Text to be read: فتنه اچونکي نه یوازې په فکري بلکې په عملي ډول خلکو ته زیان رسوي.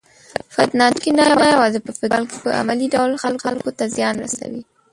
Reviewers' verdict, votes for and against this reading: rejected, 0, 2